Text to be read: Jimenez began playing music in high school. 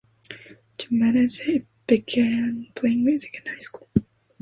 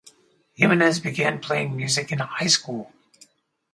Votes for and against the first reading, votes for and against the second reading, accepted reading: 0, 2, 4, 0, second